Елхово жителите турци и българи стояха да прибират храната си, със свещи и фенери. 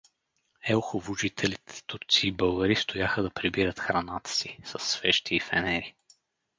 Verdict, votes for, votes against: accepted, 4, 0